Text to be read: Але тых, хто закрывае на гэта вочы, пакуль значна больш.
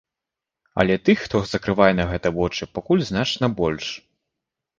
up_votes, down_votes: 2, 0